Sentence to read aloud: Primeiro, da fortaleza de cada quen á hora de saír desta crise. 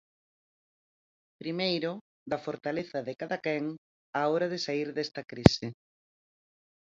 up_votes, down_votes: 4, 0